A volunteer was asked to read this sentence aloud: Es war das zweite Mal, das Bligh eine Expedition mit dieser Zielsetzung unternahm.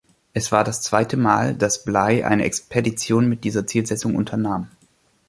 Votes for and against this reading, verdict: 2, 1, accepted